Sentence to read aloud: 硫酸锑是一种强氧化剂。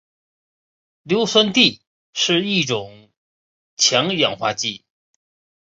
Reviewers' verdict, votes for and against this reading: rejected, 0, 2